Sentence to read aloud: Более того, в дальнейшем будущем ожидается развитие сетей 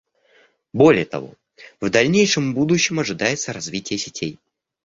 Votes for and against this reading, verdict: 2, 0, accepted